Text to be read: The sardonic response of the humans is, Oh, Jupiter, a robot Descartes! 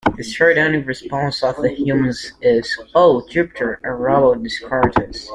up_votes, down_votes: 1, 2